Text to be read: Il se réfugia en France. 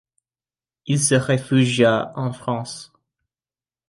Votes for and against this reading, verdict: 2, 0, accepted